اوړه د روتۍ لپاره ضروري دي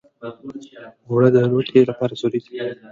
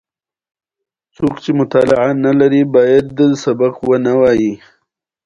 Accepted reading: first